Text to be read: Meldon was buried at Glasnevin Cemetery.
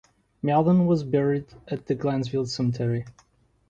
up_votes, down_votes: 1, 2